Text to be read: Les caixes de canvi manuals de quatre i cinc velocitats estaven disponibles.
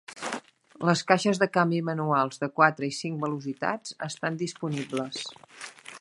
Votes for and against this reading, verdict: 1, 2, rejected